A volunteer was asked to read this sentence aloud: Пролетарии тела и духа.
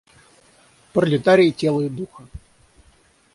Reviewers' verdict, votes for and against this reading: rejected, 3, 3